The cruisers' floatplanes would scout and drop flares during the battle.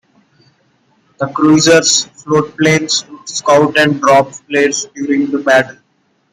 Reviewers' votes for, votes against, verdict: 2, 1, accepted